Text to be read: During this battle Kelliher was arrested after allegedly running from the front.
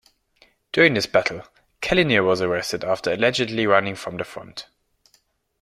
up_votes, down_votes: 2, 1